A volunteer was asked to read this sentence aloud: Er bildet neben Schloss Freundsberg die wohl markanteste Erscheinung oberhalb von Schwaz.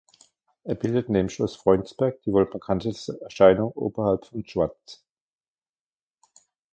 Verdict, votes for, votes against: rejected, 0, 2